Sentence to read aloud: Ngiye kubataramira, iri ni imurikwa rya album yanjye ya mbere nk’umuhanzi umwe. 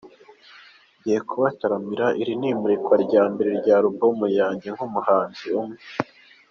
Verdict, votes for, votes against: rejected, 1, 2